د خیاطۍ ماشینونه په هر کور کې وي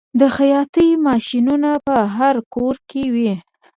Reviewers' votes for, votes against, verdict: 0, 2, rejected